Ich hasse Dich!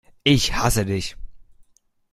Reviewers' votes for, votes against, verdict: 0, 2, rejected